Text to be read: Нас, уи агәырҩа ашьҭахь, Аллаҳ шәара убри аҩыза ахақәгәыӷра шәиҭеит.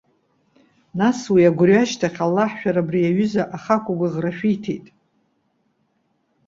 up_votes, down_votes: 2, 0